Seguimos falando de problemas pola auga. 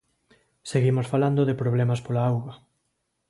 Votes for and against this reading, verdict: 2, 0, accepted